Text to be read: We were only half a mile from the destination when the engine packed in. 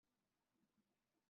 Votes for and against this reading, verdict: 0, 2, rejected